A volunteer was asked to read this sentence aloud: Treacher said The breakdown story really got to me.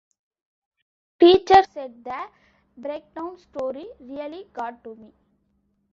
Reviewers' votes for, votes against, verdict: 1, 2, rejected